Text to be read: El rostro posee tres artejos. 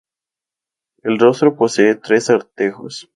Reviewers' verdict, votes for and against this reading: accepted, 4, 0